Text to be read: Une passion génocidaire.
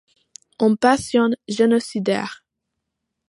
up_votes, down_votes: 2, 0